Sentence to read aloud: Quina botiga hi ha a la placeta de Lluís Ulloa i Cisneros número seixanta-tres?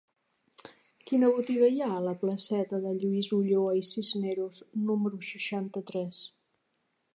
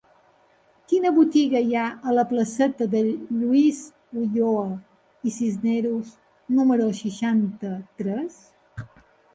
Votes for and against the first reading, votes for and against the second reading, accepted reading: 3, 0, 0, 2, first